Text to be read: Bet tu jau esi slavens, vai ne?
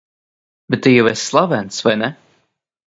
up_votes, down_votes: 2, 0